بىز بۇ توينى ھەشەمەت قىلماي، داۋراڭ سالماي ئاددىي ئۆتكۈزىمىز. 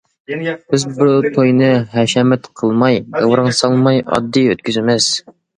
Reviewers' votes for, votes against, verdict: 1, 2, rejected